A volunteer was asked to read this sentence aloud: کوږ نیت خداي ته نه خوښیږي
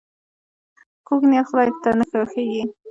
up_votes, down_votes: 2, 0